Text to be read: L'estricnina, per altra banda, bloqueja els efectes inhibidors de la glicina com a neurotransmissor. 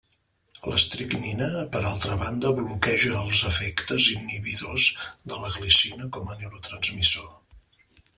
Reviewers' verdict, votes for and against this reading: rejected, 0, 2